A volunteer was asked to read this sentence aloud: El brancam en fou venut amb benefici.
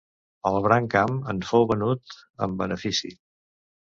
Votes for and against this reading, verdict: 2, 1, accepted